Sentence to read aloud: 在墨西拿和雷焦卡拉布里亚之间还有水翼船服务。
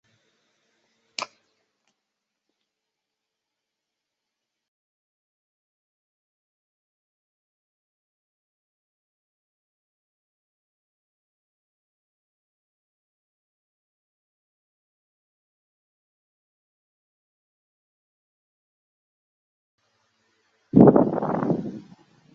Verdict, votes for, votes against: rejected, 0, 2